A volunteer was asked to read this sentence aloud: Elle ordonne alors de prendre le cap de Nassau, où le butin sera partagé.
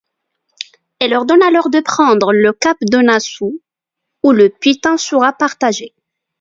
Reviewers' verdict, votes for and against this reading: rejected, 0, 2